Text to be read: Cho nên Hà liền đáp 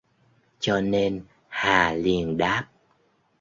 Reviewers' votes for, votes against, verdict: 2, 0, accepted